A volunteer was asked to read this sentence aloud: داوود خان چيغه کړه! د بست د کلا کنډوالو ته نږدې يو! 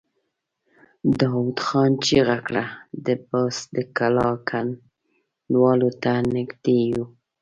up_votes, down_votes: 0, 2